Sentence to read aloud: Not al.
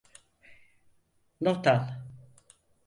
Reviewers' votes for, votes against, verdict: 4, 0, accepted